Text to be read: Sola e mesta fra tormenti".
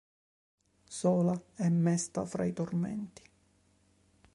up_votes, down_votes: 0, 2